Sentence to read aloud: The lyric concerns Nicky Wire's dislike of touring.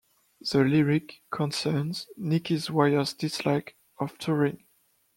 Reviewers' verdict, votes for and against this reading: rejected, 0, 2